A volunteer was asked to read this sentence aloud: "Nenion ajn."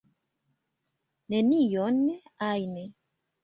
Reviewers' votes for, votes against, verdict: 0, 2, rejected